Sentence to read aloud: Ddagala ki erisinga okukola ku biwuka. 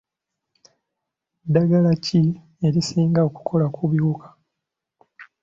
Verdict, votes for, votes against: accepted, 2, 0